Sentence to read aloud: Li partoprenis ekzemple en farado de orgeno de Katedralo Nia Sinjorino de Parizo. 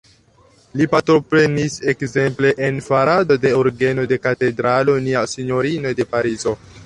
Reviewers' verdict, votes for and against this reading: rejected, 1, 2